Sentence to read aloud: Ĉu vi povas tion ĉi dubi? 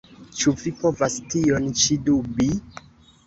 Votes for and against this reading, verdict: 1, 2, rejected